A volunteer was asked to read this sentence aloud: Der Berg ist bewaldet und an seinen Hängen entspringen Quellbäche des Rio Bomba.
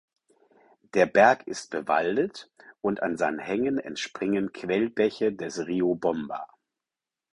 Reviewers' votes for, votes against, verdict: 4, 0, accepted